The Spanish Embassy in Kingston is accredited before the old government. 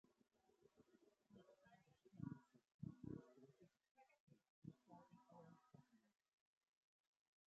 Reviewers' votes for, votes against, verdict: 0, 6, rejected